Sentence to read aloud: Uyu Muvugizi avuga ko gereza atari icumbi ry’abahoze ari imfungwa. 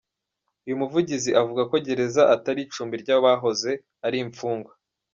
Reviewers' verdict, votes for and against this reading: rejected, 0, 2